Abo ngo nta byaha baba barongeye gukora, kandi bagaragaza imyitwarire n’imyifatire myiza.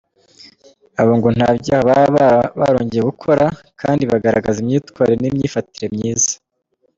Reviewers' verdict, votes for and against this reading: rejected, 0, 3